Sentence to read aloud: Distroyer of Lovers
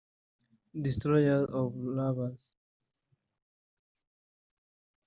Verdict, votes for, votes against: rejected, 1, 3